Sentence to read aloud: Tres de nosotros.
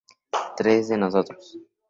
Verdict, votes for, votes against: accepted, 2, 0